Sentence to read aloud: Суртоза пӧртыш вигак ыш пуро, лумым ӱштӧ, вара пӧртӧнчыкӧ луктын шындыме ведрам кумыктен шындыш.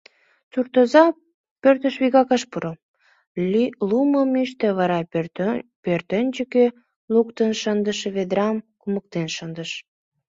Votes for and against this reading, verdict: 0, 2, rejected